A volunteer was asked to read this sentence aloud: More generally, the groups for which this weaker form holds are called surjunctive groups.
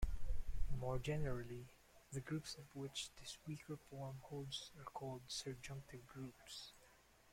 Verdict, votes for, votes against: rejected, 0, 2